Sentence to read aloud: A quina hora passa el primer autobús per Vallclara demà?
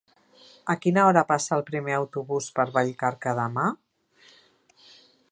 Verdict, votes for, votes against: rejected, 0, 2